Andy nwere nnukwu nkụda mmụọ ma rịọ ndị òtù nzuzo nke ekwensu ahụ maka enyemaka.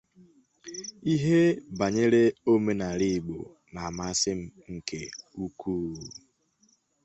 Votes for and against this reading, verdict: 0, 2, rejected